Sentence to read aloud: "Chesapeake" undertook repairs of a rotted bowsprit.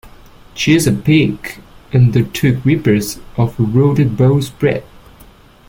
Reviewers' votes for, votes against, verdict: 0, 2, rejected